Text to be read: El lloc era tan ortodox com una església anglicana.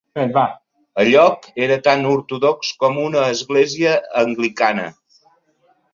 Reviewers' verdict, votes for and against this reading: rejected, 0, 2